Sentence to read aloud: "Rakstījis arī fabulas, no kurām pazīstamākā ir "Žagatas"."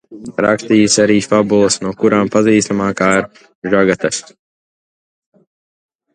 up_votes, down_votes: 1, 2